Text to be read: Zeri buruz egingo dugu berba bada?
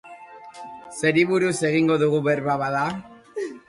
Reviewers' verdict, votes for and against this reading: accepted, 2, 0